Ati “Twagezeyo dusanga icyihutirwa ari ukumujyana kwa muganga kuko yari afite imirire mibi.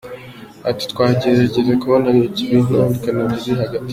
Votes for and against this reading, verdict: 0, 2, rejected